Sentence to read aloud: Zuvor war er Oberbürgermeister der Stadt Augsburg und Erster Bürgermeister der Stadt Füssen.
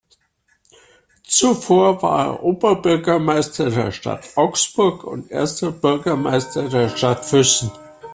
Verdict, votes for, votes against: accepted, 2, 0